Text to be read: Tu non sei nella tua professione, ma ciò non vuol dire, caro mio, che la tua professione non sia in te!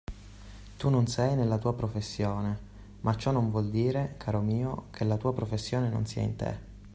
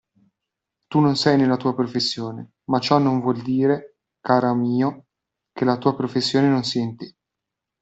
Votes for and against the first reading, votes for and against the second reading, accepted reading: 2, 0, 2, 3, first